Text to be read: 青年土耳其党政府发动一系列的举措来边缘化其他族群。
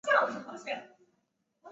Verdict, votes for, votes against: rejected, 4, 6